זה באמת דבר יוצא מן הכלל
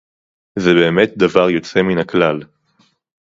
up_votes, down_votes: 4, 0